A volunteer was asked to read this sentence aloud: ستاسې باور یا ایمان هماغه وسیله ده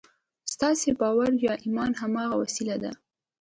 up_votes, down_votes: 2, 0